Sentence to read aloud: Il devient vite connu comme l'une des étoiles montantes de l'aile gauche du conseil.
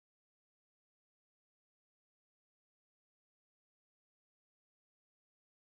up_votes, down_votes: 0, 2